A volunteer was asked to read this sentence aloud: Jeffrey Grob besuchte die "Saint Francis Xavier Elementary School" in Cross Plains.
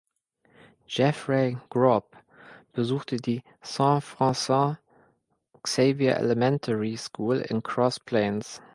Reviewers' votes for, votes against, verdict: 1, 2, rejected